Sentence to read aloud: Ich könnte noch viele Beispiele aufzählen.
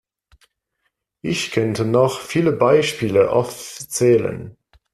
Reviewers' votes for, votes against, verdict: 2, 0, accepted